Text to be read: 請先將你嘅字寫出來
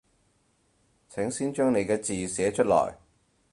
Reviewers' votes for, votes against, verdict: 4, 0, accepted